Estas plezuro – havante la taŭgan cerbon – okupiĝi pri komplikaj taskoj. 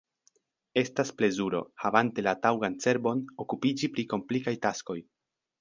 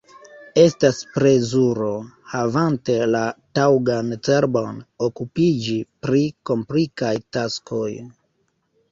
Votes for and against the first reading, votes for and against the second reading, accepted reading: 2, 0, 2, 3, first